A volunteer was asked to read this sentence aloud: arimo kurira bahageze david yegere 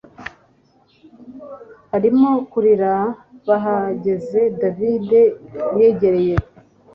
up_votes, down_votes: 2, 1